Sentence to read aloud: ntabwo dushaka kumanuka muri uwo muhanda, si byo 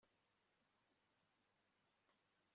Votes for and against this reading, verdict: 1, 2, rejected